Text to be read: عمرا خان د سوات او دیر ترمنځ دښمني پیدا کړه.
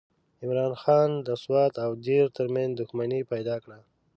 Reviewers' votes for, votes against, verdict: 2, 0, accepted